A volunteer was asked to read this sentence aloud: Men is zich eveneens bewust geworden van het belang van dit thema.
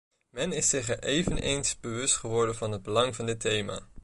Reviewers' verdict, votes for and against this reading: rejected, 1, 2